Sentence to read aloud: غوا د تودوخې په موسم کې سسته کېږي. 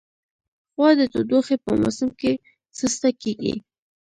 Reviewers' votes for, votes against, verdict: 1, 2, rejected